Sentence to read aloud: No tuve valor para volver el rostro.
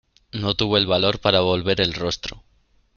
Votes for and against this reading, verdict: 0, 2, rejected